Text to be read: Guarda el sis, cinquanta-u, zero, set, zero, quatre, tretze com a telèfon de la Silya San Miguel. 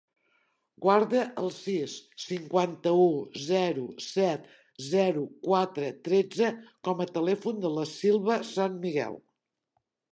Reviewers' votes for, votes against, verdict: 1, 2, rejected